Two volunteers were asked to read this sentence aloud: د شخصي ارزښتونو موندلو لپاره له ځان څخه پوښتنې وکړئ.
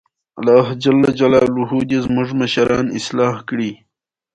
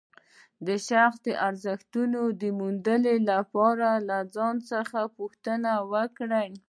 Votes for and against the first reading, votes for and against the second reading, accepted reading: 2, 0, 1, 2, first